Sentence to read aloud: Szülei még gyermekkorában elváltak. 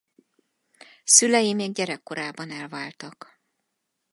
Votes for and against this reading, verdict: 2, 4, rejected